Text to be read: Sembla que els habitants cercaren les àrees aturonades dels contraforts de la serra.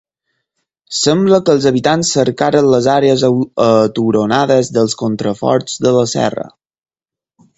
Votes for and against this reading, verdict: 2, 4, rejected